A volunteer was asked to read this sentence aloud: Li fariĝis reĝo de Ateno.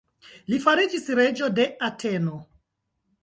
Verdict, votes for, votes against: rejected, 0, 2